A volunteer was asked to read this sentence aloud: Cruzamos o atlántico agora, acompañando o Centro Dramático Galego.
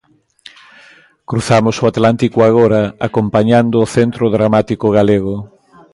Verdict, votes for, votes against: accepted, 2, 0